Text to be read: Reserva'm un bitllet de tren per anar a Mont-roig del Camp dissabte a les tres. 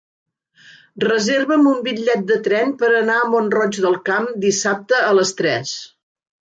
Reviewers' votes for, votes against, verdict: 3, 0, accepted